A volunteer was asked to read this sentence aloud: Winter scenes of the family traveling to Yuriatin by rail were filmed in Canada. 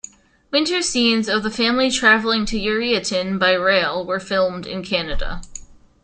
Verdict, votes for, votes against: accepted, 2, 0